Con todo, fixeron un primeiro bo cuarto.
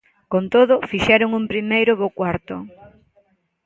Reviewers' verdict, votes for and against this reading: accepted, 2, 0